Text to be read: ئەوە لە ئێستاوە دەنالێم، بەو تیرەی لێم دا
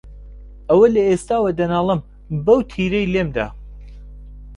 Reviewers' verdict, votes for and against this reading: accepted, 2, 0